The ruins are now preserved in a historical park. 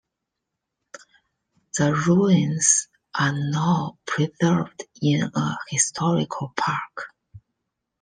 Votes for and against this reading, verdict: 1, 2, rejected